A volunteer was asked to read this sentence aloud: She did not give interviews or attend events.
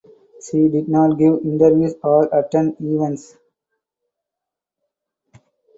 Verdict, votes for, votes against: accepted, 4, 0